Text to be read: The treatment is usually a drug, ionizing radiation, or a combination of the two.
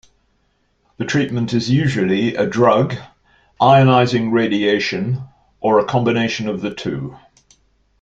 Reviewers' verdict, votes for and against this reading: accepted, 2, 0